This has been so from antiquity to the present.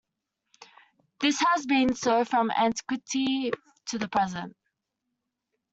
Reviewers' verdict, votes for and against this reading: accepted, 2, 1